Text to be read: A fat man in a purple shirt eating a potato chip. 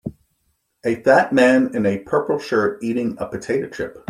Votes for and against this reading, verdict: 2, 0, accepted